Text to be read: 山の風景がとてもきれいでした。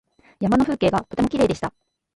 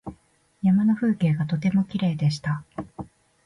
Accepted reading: second